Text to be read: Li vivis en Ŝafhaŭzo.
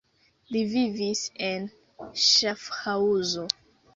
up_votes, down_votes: 2, 0